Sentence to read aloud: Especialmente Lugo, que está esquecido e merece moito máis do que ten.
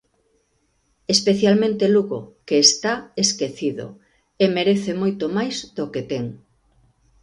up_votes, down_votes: 2, 0